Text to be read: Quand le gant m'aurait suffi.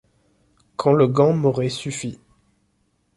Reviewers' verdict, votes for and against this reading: accepted, 2, 0